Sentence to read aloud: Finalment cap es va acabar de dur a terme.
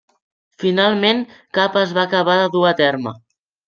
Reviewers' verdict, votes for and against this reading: accepted, 3, 0